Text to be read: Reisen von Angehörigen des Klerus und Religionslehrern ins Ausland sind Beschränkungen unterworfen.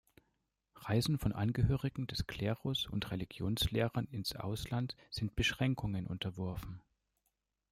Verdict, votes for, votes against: accepted, 2, 0